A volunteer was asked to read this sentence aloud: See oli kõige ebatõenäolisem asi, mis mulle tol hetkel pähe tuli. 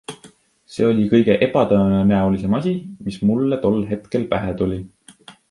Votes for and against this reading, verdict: 2, 0, accepted